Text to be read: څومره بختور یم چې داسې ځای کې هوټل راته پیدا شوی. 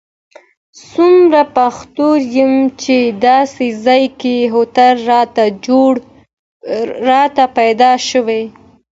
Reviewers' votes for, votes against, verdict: 2, 1, accepted